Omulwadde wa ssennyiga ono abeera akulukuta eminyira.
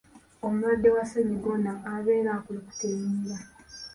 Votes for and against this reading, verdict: 2, 0, accepted